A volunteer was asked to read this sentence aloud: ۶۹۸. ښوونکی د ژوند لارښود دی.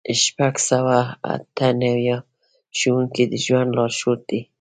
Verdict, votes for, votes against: rejected, 0, 2